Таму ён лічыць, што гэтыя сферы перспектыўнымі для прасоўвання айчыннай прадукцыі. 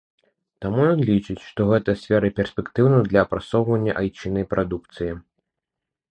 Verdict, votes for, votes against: rejected, 1, 2